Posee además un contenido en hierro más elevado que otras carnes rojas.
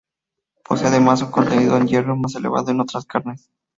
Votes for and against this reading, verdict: 0, 2, rejected